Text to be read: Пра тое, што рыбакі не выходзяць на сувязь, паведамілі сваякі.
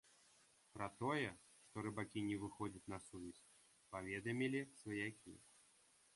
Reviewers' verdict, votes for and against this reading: accepted, 2, 1